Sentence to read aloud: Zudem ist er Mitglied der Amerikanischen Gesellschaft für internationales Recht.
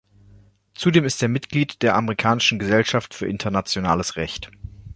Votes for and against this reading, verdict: 2, 0, accepted